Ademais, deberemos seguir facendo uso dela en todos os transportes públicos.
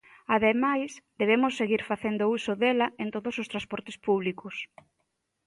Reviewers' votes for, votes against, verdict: 0, 2, rejected